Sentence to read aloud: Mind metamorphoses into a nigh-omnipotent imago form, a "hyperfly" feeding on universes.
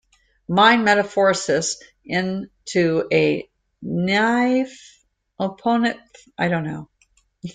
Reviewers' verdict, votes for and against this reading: rejected, 0, 2